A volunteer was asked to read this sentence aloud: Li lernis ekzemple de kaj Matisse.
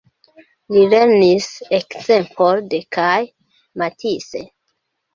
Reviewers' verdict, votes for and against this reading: rejected, 0, 2